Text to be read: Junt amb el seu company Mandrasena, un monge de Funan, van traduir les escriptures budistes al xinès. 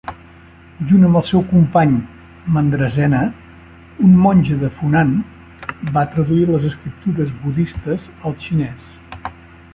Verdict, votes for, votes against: rejected, 1, 2